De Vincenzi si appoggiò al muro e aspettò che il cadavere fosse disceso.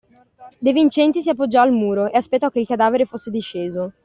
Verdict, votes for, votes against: rejected, 0, 2